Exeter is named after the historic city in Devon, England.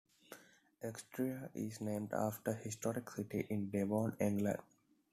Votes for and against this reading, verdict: 1, 2, rejected